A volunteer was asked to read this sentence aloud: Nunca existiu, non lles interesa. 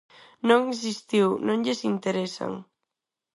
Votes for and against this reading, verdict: 0, 4, rejected